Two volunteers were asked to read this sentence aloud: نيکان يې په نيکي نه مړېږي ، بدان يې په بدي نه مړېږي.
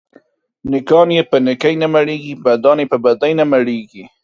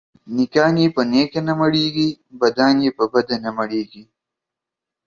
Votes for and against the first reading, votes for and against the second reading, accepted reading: 2, 1, 1, 2, first